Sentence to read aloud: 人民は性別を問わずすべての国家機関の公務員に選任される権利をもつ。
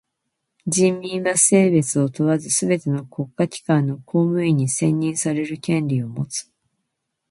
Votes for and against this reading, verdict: 1, 2, rejected